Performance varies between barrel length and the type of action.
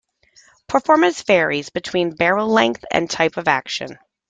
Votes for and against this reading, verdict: 2, 0, accepted